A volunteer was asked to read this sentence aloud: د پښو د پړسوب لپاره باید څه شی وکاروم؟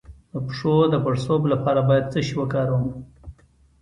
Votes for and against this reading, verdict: 2, 0, accepted